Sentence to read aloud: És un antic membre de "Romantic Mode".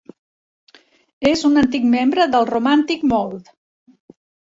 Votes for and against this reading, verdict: 0, 2, rejected